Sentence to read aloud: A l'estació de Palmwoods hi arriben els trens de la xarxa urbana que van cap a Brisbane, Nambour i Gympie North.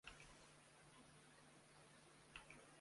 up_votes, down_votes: 0, 2